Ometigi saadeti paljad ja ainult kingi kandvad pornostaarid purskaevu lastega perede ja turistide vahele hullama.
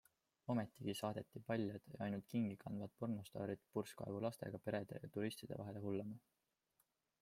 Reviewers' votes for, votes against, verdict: 2, 0, accepted